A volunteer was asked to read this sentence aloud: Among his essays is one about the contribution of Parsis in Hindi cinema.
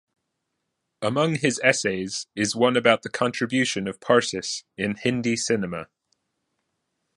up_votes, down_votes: 2, 0